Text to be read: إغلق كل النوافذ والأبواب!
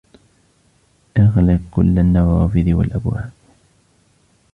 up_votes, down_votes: 1, 2